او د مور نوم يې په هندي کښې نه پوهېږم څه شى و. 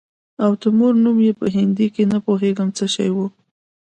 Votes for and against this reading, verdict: 2, 0, accepted